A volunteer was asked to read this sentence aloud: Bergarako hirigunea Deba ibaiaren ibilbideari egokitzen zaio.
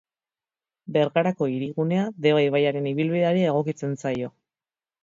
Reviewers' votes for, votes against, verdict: 4, 0, accepted